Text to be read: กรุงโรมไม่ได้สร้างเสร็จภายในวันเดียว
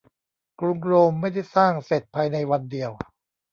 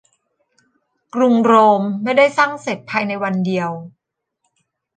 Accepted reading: second